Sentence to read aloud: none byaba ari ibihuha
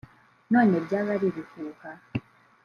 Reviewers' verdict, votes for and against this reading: accepted, 2, 0